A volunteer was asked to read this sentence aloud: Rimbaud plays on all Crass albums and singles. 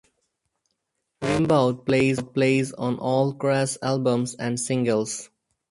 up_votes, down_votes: 2, 2